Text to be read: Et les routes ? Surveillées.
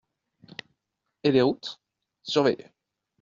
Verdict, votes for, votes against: accepted, 2, 0